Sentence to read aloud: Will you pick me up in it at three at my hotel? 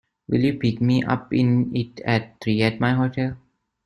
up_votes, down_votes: 0, 2